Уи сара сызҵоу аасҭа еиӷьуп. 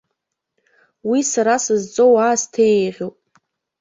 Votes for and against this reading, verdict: 2, 0, accepted